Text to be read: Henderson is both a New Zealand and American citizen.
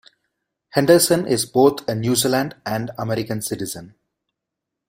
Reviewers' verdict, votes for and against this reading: accepted, 2, 0